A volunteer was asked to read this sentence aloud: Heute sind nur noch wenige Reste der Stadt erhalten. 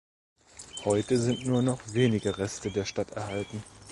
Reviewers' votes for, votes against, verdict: 4, 0, accepted